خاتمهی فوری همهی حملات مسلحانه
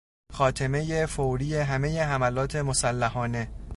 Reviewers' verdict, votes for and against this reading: accepted, 2, 0